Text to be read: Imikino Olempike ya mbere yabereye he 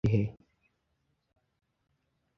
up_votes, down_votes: 1, 2